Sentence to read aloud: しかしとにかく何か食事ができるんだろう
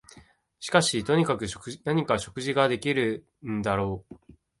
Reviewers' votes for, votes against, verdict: 0, 2, rejected